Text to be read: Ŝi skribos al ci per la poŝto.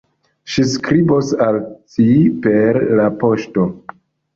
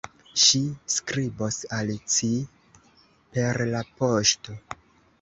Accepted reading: first